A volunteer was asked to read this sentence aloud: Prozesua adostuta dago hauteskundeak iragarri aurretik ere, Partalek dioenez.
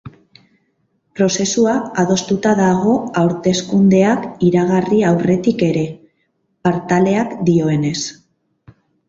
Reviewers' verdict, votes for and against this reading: rejected, 0, 4